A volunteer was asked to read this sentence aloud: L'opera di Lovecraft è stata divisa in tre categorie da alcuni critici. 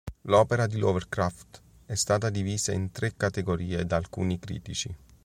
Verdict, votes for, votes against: accepted, 3, 0